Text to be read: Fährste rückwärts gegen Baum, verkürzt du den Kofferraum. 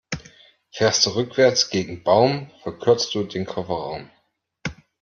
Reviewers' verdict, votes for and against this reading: accepted, 2, 0